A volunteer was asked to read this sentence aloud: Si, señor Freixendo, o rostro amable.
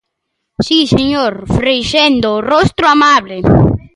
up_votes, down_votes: 1, 2